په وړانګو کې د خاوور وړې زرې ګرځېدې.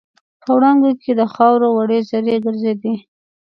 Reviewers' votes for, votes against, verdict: 2, 0, accepted